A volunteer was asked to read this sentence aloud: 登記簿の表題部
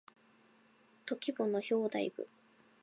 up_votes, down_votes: 1, 2